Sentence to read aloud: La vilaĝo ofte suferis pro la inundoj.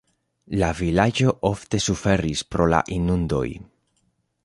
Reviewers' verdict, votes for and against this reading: accepted, 2, 0